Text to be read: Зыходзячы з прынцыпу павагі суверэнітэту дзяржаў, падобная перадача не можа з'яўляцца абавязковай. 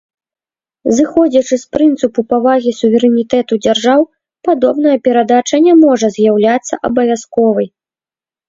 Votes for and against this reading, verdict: 2, 0, accepted